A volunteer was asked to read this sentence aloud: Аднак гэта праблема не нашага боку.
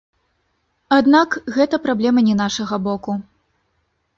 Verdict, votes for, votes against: rejected, 1, 2